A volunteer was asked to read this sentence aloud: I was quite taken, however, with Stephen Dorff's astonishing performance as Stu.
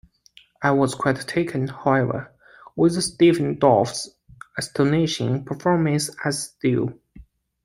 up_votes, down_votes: 2, 0